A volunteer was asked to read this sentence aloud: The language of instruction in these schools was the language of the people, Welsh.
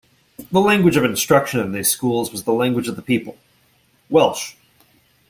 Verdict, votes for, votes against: accepted, 2, 1